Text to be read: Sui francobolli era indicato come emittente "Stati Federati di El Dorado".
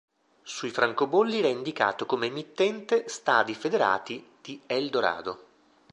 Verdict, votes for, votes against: rejected, 1, 2